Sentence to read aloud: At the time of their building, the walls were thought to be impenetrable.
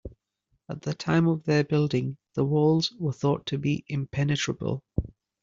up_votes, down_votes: 2, 1